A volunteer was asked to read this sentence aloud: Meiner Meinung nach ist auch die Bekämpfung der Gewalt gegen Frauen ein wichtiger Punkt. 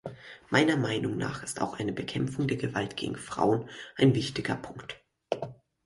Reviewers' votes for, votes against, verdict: 2, 4, rejected